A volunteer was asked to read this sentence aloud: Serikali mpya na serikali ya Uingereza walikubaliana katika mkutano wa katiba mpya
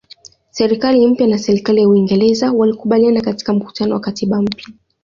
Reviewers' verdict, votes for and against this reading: accepted, 2, 0